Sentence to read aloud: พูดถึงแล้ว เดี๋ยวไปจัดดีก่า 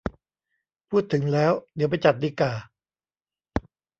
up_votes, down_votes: 2, 1